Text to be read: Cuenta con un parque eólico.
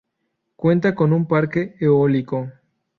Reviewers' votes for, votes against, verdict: 2, 0, accepted